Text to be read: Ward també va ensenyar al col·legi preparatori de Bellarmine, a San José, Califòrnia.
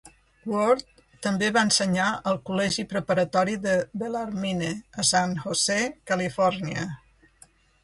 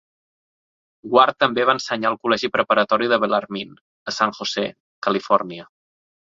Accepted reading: second